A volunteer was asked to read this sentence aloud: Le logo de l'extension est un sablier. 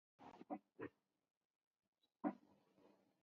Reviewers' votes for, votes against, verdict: 0, 2, rejected